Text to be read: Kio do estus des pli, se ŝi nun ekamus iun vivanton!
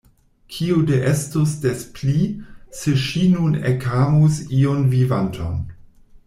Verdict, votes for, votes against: rejected, 0, 2